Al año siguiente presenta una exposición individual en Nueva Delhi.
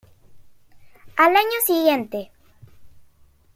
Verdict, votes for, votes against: rejected, 0, 2